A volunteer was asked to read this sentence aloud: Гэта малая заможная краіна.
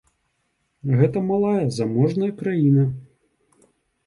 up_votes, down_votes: 2, 0